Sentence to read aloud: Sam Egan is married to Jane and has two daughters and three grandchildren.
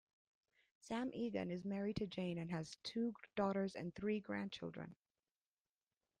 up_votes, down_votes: 3, 0